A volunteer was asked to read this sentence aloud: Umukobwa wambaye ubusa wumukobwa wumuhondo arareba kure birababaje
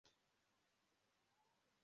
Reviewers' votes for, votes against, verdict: 0, 2, rejected